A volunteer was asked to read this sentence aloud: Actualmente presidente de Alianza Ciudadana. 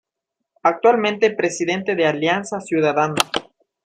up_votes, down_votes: 1, 2